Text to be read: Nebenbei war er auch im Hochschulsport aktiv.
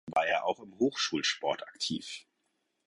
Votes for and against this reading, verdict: 0, 4, rejected